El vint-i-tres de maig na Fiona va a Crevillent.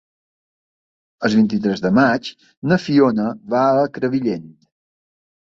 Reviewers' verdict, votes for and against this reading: accepted, 2, 1